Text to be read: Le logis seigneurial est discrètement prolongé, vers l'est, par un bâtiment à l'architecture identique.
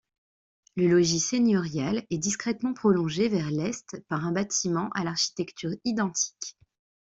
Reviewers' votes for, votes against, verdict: 2, 0, accepted